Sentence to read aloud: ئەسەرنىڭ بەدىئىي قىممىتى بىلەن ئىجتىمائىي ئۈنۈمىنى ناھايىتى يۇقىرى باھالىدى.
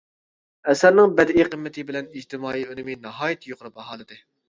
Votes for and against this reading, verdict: 0, 2, rejected